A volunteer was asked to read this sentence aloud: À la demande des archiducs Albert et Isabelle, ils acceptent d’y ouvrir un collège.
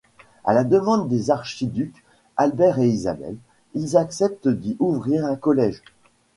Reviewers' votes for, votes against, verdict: 1, 2, rejected